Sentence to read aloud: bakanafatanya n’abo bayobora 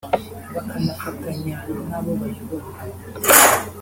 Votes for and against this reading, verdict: 3, 0, accepted